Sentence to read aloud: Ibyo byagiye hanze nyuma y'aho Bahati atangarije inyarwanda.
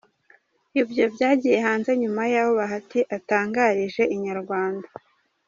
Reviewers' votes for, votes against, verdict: 1, 2, rejected